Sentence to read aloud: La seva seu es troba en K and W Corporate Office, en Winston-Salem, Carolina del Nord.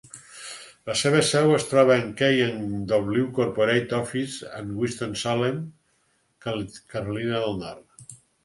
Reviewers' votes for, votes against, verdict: 2, 4, rejected